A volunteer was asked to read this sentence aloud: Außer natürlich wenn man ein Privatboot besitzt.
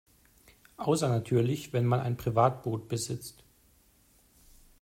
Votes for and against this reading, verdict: 2, 0, accepted